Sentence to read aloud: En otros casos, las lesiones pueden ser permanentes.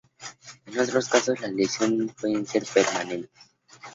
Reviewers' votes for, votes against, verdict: 2, 2, rejected